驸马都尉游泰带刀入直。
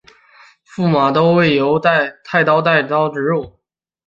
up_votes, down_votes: 1, 2